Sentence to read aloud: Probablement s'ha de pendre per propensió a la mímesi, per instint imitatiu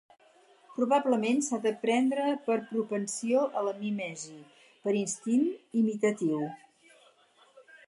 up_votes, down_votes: 4, 0